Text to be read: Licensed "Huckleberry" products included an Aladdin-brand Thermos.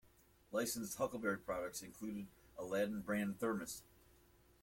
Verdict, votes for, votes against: accepted, 2, 1